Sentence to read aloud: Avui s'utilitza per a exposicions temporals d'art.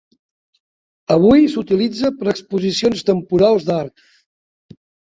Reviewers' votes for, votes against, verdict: 2, 0, accepted